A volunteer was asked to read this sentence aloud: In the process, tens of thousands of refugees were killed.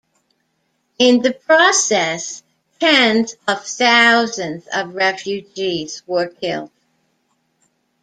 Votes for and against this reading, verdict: 2, 0, accepted